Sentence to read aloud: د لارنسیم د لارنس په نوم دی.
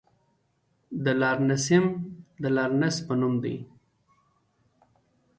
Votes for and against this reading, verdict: 1, 2, rejected